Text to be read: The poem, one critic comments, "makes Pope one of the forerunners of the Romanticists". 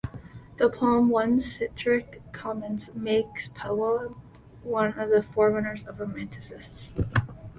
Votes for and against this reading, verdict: 0, 2, rejected